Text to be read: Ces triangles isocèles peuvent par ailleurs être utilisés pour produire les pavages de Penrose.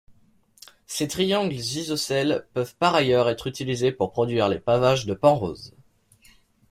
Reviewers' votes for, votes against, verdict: 0, 2, rejected